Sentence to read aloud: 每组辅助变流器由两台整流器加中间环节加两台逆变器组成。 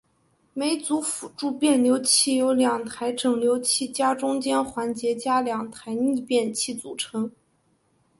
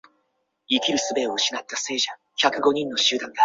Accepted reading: first